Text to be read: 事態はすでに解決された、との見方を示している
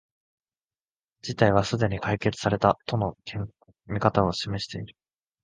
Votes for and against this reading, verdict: 0, 2, rejected